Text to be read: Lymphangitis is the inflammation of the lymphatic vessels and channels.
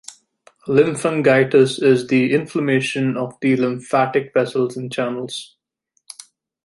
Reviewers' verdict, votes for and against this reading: accepted, 2, 0